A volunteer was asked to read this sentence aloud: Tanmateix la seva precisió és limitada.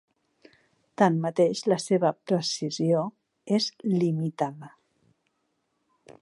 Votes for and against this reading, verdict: 4, 0, accepted